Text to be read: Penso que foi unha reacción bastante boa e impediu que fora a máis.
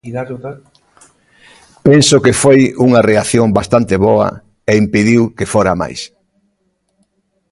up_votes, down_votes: 1, 2